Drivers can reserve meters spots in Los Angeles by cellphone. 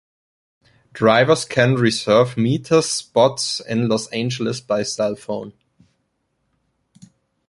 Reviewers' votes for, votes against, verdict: 2, 0, accepted